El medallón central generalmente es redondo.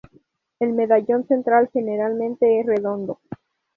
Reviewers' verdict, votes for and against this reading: rejected, 0, 2